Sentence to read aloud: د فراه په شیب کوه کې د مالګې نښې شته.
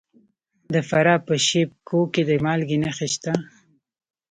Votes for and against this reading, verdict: 2, 0, accepted